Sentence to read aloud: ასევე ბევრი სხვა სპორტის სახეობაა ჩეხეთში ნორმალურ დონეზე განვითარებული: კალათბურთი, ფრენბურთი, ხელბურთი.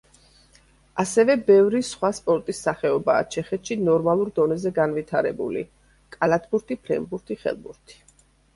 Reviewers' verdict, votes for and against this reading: accepted, 2, 0